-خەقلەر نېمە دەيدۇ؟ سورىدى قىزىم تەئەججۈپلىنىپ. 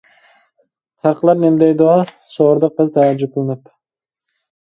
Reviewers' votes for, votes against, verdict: 0, 2, rejected